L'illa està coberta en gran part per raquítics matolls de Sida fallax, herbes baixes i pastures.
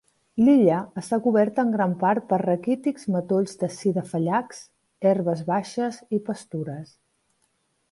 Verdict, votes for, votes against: accepted, 2, 0